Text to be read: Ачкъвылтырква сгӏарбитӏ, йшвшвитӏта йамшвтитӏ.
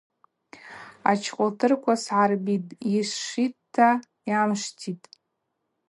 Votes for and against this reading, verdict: 4, 0, accepted